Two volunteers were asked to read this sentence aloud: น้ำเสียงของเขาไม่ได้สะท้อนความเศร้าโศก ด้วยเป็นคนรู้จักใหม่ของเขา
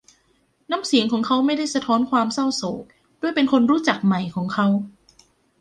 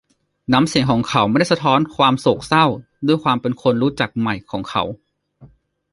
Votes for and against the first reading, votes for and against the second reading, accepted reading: 2, 0, 1, 2, first